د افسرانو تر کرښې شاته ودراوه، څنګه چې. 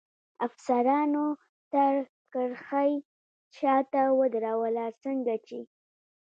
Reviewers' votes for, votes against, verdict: 1, 2, rejected